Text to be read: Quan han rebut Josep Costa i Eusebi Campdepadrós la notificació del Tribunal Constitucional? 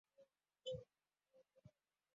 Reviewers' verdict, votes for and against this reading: rejected, 0, 2